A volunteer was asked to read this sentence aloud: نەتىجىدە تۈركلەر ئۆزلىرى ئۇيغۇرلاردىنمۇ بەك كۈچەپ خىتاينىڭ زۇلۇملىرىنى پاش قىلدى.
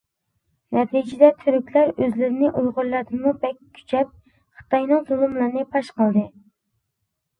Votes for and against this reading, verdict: 0, 2, rejected